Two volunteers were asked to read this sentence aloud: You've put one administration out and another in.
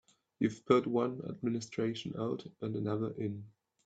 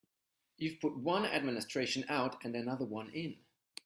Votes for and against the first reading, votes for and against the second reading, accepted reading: 3, 0, 1, 2, first